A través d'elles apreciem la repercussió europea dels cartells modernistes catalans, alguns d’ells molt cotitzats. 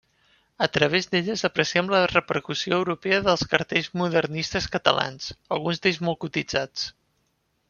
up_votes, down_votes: 2, 0